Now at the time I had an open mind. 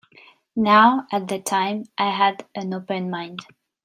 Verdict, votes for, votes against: accepted, 2, 0